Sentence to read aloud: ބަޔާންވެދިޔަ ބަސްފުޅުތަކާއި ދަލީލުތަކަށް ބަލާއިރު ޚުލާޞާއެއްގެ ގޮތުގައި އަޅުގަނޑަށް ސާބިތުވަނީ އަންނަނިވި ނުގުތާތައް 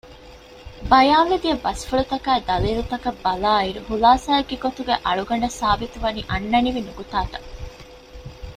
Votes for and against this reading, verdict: 1, 2, rejected